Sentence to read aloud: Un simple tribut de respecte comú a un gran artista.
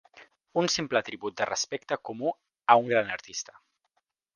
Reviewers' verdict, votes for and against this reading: accepted, 5, 0